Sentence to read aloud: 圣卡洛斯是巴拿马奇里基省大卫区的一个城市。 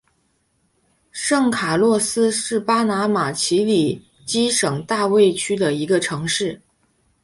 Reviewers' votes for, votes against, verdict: 4, 0, accepted